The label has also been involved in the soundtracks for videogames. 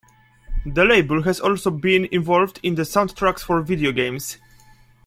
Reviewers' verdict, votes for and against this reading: accepted, 2, 0